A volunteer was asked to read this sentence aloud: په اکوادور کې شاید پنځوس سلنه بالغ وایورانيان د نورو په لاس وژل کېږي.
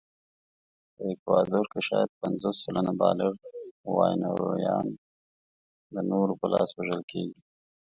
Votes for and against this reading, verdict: 1, 2, rejected